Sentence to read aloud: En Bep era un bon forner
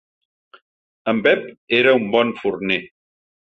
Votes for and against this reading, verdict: 3, 0, accepted